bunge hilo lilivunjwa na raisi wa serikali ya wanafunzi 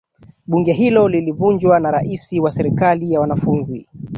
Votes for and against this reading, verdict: 2, 1, accepted